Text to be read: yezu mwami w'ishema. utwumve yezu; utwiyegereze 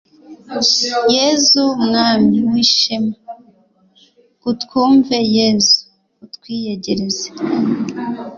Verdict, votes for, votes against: accepted, 4, 0